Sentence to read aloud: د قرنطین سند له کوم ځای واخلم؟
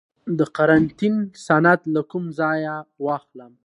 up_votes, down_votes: 2, 0